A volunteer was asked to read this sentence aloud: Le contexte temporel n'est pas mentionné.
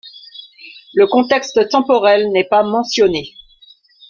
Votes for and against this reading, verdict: 0, 2, rejected